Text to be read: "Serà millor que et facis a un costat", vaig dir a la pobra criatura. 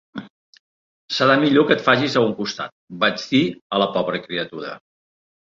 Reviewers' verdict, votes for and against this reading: accepted, 2, 1